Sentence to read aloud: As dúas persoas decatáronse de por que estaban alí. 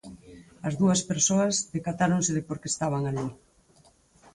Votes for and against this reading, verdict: 4, 0, accepted